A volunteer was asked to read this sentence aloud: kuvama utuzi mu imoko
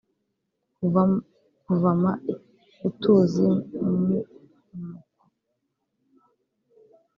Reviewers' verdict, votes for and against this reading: rejected, 1, 2